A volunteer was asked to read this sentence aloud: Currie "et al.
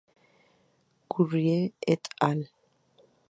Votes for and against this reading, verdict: 2, 0, accepted